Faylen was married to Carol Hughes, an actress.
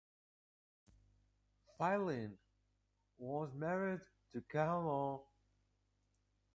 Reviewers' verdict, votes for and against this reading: rejected, 0, 2